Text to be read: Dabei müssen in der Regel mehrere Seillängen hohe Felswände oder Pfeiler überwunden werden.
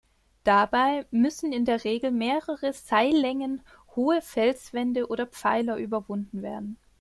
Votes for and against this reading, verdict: 2, 0, accepted